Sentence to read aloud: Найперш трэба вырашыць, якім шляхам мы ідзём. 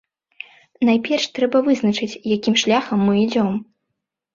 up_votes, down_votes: 1, 2